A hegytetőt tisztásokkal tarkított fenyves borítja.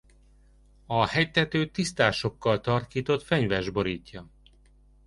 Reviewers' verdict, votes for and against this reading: accepted, 2, 0